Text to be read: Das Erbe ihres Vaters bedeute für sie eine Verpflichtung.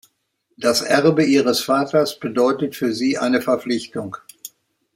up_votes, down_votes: 4, 7